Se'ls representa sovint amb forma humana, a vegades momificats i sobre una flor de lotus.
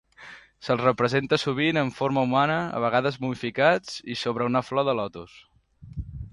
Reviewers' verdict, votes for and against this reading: accepted, 2, 0